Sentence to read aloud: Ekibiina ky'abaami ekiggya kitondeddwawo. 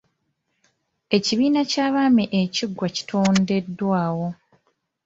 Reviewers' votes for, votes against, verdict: 0, 2, rejected